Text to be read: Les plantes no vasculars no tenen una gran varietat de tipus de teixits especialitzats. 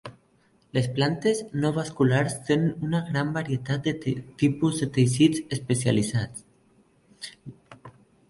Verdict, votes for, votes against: rejected, 0, 3